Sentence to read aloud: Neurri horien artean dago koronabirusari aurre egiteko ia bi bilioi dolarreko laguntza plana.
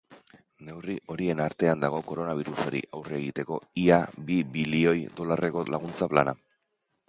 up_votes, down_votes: 2, 0